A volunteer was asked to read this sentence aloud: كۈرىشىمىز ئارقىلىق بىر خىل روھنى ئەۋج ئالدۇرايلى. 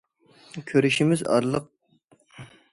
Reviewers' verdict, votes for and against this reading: rejected, 0, 2